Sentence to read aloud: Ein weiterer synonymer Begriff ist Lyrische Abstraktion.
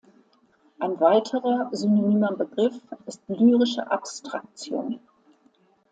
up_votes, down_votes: 2, 1